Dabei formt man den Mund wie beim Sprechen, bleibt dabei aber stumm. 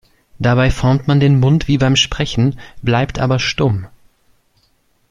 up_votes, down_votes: 0, 2